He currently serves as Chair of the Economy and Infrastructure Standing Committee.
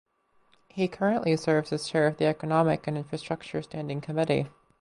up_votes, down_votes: 0, 4